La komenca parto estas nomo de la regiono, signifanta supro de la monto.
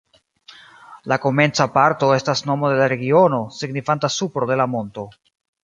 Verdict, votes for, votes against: accepted, 2, 0